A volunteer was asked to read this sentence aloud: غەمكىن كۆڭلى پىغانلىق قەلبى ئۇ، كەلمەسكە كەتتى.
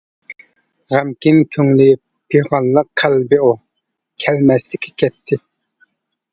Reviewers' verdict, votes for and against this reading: rejected, 1, 2